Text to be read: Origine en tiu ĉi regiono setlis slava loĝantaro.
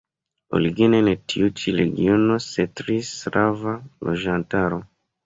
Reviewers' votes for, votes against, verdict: 2, 0, accepted